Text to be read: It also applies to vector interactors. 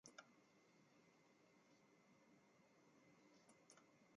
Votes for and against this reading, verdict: 0, 2, rejected